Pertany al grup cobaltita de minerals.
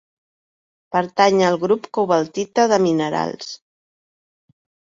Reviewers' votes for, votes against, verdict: 2, 0, accepted